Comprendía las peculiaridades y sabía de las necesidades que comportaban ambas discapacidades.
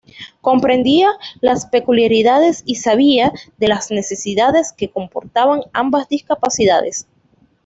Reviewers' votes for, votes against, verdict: 2, 0, accepted